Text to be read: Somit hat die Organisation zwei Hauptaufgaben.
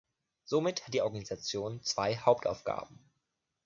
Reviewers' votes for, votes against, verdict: 2, 0, accepted